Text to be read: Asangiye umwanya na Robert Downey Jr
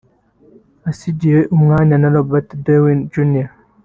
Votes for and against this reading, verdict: 3, 1, accepted